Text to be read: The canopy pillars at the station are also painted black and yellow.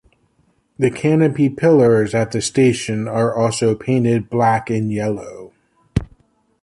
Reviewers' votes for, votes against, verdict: 2, 0, accepted